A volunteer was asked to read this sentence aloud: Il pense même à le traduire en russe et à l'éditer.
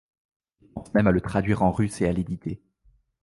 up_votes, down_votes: 0, 2